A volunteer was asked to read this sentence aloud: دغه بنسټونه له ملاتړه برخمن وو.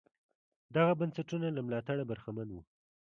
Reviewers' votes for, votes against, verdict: 2, 1, accepted